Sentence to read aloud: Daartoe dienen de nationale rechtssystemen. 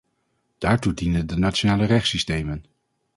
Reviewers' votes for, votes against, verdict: 2, 0, accepted